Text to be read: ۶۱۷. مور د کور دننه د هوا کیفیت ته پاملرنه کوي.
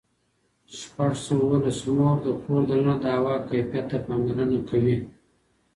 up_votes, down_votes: 0, 2